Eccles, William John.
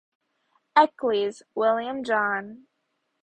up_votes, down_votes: 0, 2